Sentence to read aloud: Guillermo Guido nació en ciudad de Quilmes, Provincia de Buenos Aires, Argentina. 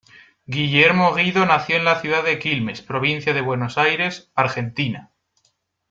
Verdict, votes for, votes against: rejected, 1, 2